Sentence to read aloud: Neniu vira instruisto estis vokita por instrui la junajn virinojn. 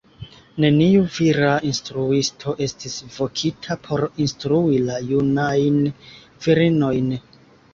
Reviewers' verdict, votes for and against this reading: accepted, 2, 0